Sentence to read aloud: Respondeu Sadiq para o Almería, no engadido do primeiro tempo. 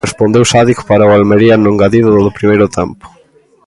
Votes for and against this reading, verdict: 2, 0, accepted